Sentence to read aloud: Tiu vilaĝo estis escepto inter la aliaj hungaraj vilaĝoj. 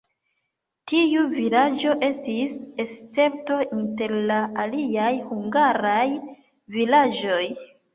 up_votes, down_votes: 1, 2